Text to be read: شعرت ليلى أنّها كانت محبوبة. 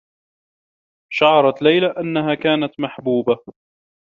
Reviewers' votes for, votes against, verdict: 2, 0, accepted